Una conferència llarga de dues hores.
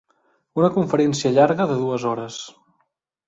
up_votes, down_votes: 3, 0